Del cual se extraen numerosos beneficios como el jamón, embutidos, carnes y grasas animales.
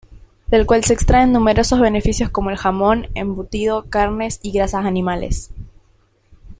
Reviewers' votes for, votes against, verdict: 2, 0, accepted